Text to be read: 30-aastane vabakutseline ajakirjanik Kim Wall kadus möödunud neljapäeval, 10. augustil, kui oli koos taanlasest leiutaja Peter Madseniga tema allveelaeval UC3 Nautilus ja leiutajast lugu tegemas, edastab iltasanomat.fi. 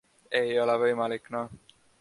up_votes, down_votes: 0, 2